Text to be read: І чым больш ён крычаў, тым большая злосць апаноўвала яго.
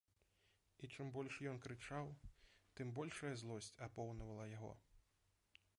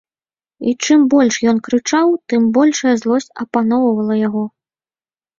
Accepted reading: second